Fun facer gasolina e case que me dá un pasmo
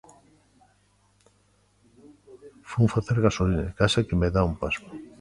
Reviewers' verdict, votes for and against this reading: accepted, 2, 1